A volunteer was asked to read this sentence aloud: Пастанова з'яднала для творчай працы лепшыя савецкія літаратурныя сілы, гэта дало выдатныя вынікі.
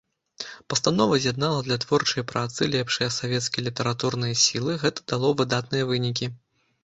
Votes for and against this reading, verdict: 2, 0, accepted